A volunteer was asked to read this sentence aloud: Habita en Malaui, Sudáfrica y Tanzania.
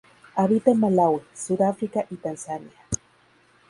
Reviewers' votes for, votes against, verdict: 2, 0, accepted